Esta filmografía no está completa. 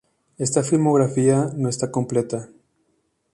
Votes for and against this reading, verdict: 2, 0, accepted